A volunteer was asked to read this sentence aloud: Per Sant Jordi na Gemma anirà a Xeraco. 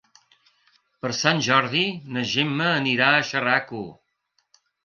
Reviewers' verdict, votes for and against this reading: rejected, 0, 2